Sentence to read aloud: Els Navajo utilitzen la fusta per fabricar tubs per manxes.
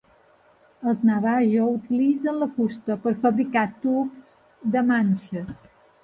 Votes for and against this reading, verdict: 0, 2, rejected